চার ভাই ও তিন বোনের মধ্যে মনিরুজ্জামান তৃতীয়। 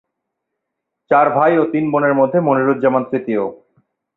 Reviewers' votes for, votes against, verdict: 2, 0, accepted